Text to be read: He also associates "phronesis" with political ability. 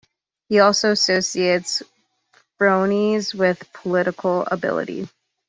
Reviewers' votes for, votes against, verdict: 1, 2, rejected